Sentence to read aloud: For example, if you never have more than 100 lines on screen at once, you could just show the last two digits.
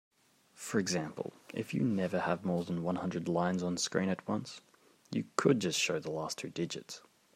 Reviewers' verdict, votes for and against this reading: rejected, 0, 2